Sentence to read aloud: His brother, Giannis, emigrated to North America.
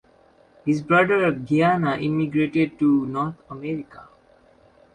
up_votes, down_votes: 0, 2